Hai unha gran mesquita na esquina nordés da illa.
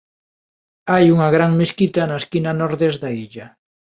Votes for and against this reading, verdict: 2, 0, accepted